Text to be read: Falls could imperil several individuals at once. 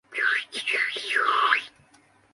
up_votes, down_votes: 0, 2